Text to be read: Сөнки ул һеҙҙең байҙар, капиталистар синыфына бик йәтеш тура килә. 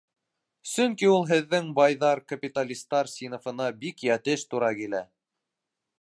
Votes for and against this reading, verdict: 2, 0, accepted